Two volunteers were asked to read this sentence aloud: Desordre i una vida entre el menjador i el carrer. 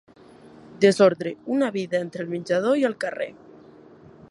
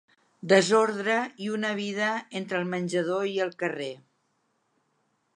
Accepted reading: second